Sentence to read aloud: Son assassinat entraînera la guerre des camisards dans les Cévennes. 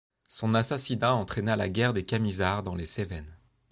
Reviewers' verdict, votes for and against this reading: rejected, 1, 2